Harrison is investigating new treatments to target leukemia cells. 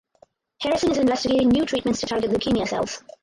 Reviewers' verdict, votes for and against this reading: rejected, 2, 4